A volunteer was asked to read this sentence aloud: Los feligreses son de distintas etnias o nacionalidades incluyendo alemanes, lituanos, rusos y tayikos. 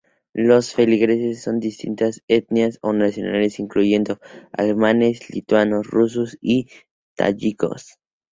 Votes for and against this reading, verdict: 0, 2, rejected